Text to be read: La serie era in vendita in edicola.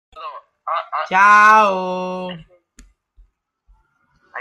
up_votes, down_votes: 0, 2